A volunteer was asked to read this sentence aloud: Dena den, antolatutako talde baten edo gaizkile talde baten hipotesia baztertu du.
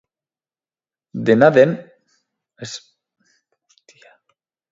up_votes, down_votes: 0, 2